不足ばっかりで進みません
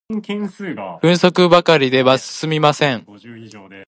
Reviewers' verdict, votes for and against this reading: rejected, 1, 2